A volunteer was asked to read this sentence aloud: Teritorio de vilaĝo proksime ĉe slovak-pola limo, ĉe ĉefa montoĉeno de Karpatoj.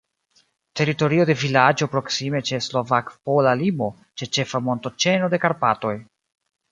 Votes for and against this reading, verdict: 2, 0, accepted